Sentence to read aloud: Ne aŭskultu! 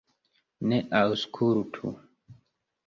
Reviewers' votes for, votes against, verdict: 2, 1, accepted